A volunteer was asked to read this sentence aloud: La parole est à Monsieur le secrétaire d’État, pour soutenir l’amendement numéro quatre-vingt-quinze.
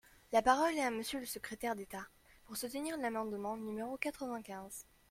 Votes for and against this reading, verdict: 0, 2, rejected